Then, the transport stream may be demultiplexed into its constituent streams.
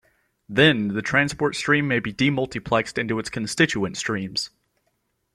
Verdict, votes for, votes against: accepted, 2, 0